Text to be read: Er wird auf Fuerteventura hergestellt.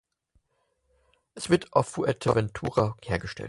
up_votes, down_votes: 4, 0